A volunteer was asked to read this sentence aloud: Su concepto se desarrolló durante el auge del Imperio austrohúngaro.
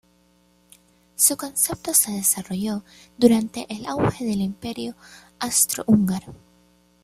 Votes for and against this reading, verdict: 2, 3, rejected